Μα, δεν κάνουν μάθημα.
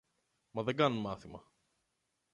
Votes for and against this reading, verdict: 0, 2, rejected